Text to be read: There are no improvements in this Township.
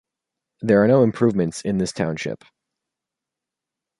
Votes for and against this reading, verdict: 2, 0, accepted